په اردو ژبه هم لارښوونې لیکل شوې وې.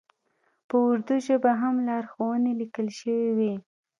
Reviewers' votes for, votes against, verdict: 2, 0, accepted